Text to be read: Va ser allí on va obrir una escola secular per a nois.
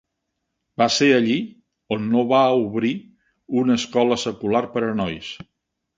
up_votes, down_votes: 0, 2